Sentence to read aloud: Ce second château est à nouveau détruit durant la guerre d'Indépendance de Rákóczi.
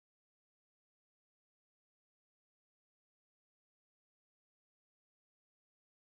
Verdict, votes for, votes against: rejected, 0, 2